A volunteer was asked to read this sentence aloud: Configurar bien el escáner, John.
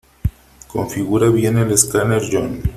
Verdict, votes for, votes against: accepted, 3, 0